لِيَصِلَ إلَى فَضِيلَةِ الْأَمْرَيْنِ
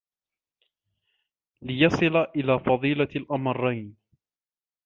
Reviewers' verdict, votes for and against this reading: rejected, 1, 2